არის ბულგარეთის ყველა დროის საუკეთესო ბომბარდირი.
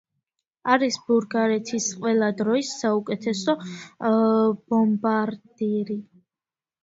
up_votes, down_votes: 1, 2